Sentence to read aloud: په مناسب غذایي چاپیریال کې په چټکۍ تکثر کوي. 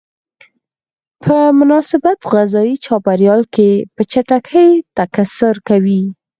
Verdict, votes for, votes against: rejected, 2, 4